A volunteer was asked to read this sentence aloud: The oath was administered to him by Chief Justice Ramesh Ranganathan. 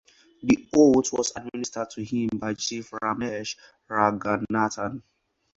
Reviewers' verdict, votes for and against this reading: rejected, 2, 2